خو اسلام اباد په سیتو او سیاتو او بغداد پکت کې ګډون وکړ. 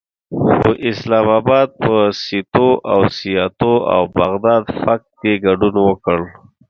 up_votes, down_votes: 2, 0